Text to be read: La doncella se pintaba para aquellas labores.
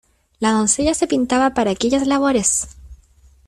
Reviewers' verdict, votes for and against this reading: accepted, 2, 1